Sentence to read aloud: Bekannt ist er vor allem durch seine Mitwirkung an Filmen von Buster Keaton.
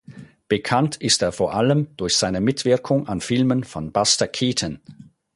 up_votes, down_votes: 4, 0